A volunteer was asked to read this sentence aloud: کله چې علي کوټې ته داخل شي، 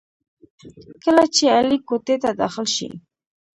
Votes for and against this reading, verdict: 0, 2, rejected